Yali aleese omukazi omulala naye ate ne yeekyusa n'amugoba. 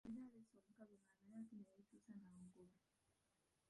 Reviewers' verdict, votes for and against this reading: rejected, 1, 2